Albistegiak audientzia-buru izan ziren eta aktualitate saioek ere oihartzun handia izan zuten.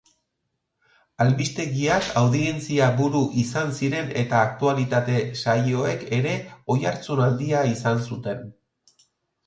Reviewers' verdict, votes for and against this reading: accepted, 2, 0